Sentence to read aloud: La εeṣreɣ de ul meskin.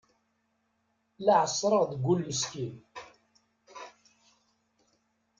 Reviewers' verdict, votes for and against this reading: rejected, 1, 2